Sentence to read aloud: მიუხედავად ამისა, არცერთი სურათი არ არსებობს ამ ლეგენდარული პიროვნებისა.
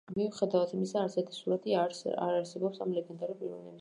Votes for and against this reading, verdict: 0, 2, rejected